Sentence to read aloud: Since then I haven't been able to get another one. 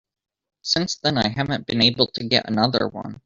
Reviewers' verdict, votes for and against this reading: rejected, 1, 2